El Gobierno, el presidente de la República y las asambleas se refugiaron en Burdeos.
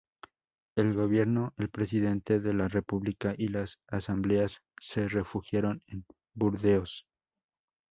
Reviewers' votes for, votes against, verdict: 0, 2, rejected